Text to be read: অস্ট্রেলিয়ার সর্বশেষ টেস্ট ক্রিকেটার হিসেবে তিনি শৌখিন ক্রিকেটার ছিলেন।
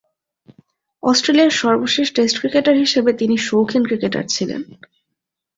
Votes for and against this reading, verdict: 2, 0, accepted